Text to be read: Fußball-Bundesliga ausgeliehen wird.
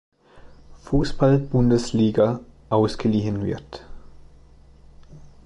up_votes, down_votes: 2, 0